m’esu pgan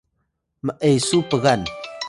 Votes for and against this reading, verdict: 1, 2, rejected